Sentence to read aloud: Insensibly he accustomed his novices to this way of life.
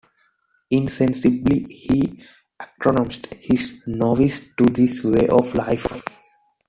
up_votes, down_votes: 0, 2